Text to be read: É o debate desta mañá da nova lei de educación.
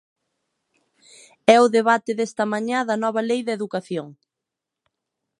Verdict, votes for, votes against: accepted, 2, 0